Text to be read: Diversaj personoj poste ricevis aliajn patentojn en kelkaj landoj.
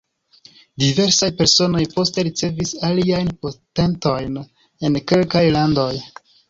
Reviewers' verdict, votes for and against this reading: rejected, 1, 2